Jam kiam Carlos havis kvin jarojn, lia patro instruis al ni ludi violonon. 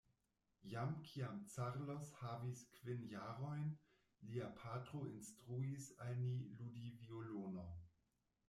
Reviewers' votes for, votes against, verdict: 1, 2, rejected